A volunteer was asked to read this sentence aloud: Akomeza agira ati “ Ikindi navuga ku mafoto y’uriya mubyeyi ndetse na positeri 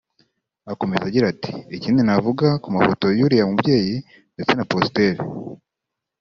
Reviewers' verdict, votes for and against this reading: accepted, 2, 0